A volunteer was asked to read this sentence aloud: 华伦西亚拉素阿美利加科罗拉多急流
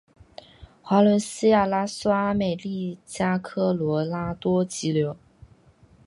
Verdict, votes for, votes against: accepted, 7, 0